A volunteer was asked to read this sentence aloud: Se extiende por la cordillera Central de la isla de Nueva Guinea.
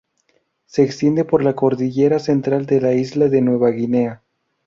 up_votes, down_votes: 2, 0